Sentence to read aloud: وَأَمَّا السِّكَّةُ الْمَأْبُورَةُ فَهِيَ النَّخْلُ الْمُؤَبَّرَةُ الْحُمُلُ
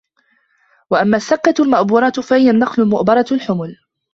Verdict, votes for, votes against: rejected, 0, 2